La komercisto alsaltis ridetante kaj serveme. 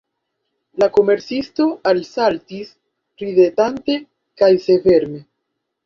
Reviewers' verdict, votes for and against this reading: rejected, 1, 3